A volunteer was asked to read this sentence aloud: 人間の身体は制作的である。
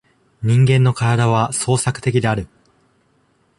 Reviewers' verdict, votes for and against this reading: rejected, 0, 2